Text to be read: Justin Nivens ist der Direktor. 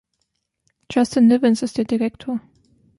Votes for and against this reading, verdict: 1, 2, rejected